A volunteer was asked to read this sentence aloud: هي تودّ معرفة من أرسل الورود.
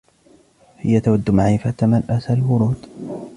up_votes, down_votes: 2, 0